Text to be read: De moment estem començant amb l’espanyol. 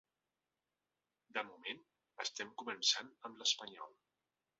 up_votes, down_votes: 3, 0